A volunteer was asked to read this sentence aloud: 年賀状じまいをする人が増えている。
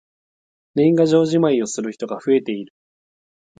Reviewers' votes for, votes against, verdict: 4, 0, accepted